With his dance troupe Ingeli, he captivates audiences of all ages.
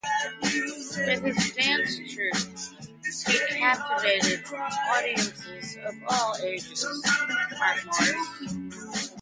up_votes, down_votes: 0, 2